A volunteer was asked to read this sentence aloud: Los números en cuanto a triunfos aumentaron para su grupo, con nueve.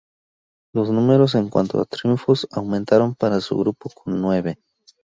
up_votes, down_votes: 0, 2